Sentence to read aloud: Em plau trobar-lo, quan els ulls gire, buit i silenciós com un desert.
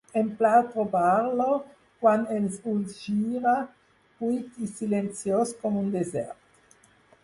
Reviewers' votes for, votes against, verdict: 4, 0, accepted